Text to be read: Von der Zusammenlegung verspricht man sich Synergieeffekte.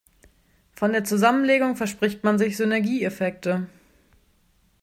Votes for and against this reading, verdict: 2, 0, accepted